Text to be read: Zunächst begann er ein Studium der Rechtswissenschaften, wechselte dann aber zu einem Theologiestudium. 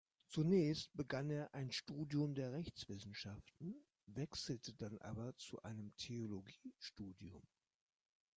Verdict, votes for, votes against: accepted, 2, 0